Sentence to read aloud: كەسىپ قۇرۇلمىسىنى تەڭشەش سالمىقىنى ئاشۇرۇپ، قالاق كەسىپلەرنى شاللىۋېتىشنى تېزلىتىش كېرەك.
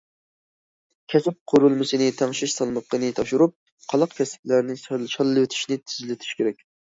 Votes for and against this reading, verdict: 0, 2, rejected